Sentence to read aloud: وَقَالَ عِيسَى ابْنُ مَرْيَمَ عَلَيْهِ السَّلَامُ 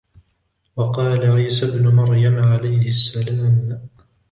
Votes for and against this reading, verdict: 1, 2, rejected